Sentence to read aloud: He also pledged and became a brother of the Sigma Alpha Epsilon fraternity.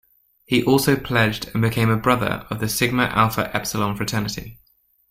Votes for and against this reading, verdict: 2, 0, accepted